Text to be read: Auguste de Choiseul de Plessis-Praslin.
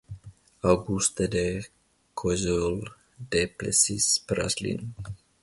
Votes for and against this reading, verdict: 1, 2, rejected